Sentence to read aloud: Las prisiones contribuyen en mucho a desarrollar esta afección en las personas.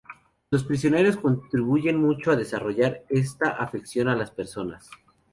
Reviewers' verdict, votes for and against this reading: rejected, 2, 2